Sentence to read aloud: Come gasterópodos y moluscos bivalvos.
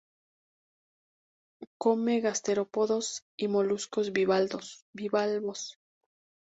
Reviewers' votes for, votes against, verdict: 0, 2, rejected